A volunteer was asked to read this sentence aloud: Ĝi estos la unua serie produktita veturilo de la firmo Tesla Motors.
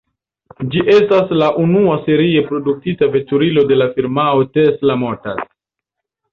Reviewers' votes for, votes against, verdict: 1, 2, rejected